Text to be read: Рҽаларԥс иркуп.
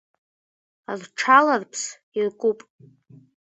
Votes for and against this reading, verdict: 2, 1, accepted